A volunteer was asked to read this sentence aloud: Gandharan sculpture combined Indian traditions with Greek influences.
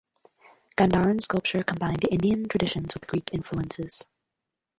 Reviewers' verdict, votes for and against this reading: rejected, 0, 2